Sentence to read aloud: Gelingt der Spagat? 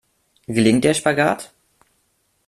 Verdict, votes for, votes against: accepted, 2, 0